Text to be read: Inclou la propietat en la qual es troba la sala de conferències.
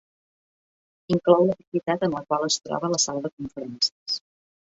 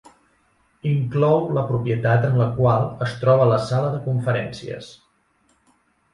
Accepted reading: second